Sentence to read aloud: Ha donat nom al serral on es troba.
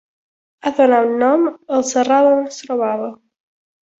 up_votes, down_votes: 1, 2